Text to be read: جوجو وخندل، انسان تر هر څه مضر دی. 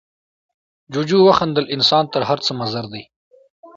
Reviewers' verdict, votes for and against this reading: accepted, 2, 0